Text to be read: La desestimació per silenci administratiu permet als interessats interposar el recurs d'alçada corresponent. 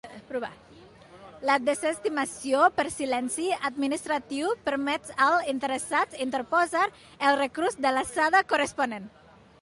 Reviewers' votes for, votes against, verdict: 1, 2, rejected